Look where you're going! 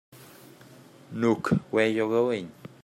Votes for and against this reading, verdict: 0, 2, rejected